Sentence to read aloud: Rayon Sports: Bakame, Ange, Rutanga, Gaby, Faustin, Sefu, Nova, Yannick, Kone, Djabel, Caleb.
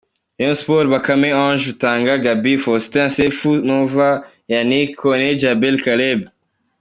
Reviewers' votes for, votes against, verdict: 2, 0, accepted